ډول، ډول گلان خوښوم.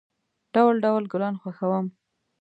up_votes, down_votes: 2, 0